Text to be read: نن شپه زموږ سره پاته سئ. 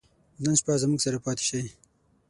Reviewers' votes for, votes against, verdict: 3, 6, rejected